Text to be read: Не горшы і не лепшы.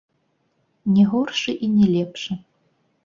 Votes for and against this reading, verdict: 1, 2, rejected